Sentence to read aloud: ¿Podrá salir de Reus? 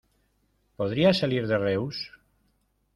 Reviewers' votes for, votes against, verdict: 0, 2, rejected